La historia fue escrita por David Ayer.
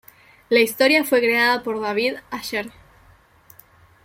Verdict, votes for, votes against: rejected, 0, 2